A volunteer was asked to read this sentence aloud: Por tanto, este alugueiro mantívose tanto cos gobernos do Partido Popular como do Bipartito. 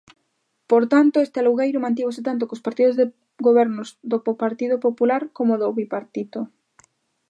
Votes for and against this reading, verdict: 0, 2, rejected